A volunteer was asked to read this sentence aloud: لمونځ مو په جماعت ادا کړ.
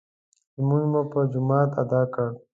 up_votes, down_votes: 2, 0